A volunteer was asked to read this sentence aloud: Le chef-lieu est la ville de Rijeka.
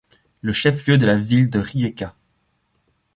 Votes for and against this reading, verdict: 1, 2, rejected